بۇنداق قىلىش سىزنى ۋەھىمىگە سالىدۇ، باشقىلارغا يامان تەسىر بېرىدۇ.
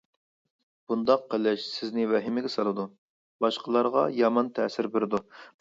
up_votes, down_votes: 2, 0